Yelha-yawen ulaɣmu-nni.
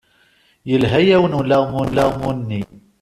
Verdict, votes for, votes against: rejected, 1, 2